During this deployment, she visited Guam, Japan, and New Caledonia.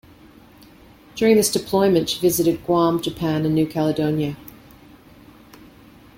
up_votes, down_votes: 2, 0